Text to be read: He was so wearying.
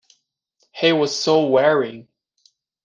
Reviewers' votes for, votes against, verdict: 1, 2, rejected